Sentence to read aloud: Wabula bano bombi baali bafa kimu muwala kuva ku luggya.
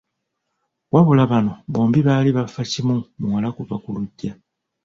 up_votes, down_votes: 1, 2